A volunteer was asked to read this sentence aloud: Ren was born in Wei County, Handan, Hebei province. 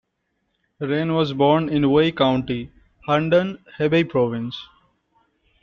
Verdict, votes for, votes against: accepted, 2, 1